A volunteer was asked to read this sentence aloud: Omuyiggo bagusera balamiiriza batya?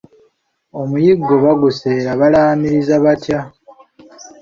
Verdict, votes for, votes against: rejected, 0, 2